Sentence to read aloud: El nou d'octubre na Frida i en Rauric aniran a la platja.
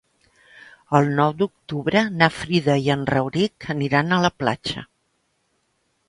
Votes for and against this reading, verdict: 3, 0, accepted